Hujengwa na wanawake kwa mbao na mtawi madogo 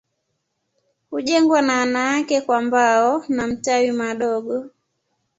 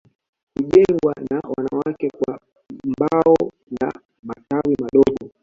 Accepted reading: first